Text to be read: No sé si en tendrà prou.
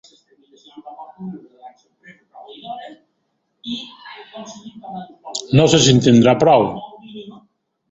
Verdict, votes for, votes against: rejected, 1, 2